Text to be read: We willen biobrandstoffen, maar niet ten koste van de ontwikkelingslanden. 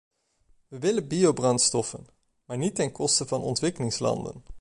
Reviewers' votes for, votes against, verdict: 0, 2, rejected